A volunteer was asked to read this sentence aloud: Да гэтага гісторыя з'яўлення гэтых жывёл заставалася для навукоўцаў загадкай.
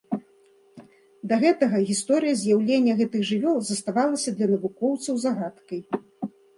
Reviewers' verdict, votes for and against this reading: accepted, 2, 0